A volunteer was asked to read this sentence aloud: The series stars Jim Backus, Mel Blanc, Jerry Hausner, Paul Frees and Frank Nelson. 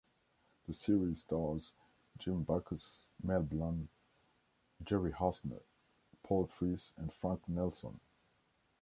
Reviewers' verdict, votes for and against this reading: accepted, 2, 1